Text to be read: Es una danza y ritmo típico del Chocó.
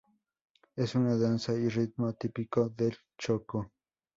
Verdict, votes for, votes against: accepted, 4, 0